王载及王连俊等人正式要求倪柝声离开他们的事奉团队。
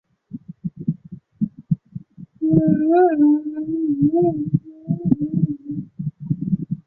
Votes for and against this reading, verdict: 0, 3, rejected